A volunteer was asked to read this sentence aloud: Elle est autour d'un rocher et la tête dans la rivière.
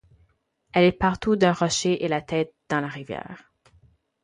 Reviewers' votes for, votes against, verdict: 0, 4, rejected